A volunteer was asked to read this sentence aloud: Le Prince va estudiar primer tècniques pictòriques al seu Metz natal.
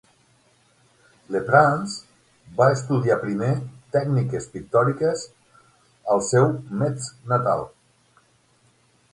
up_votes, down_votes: 6, 0